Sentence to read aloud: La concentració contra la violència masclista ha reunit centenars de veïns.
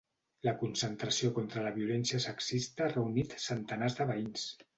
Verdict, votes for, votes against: rejected, 0, 2